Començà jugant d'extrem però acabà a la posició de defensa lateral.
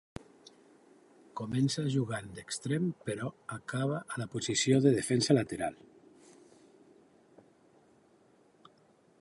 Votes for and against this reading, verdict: 4, 3, accepted